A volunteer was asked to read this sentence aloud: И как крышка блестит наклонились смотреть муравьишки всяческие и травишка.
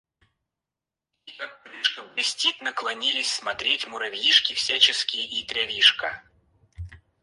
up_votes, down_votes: 2, 4